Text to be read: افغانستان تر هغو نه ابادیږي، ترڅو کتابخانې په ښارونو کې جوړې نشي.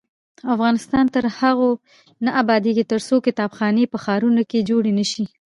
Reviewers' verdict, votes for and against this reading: rejected, 1, 2